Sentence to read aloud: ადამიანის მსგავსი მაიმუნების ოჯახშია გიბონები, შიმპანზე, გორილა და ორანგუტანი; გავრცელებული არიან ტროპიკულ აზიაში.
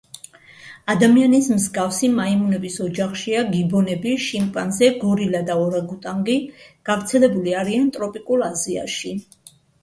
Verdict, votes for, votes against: rejected, 0, 2